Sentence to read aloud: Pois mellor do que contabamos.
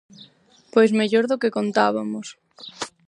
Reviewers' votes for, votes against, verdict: 0, 6, rejected